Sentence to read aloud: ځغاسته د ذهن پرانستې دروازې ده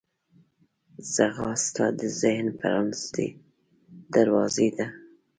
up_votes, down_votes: 0, 2